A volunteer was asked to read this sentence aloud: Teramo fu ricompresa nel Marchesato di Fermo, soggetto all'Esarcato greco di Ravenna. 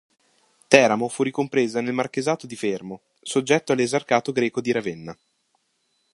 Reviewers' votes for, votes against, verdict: 2, 0, accepted